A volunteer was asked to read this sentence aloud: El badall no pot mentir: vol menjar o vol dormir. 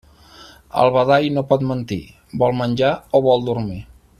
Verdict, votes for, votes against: accepted, 4, 0